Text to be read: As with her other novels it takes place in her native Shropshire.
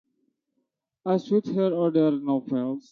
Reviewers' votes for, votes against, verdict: 0, 2, rejected